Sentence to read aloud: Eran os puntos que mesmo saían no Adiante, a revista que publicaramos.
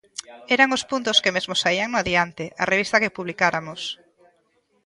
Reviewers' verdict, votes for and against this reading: rejected, 1, 2